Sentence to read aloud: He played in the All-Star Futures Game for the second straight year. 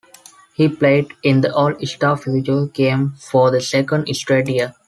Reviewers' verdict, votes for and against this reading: rejected, 1, 2